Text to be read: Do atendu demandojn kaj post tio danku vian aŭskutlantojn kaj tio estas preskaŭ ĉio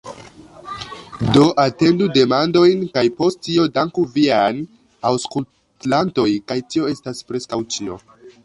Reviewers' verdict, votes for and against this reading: rejected, 1, 2